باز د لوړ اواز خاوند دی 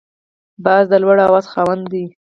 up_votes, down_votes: 2, 4